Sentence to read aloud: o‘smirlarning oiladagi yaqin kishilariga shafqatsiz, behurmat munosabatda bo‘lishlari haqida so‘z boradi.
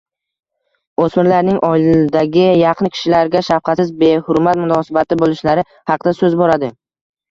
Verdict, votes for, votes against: rejected, 1, 2